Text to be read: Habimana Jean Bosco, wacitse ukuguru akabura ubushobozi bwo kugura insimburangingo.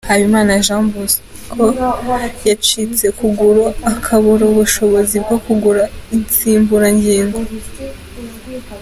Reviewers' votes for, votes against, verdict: 2, 1, accepted